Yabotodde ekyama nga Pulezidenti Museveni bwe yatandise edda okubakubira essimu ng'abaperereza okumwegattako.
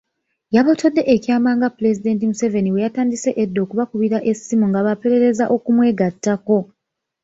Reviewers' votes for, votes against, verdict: 1, 2, rejected